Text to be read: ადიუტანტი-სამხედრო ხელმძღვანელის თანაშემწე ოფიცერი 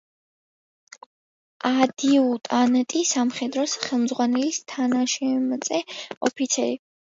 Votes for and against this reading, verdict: 0, 2, rejected